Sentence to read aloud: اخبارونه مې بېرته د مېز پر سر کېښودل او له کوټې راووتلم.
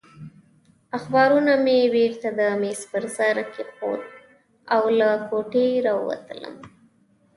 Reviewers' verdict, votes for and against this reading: accepted, 2, 0